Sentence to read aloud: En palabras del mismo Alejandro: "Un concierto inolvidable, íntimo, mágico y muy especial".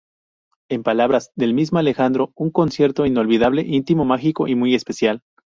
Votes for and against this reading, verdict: 2, 0, accepted